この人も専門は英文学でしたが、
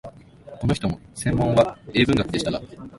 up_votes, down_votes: 1, 2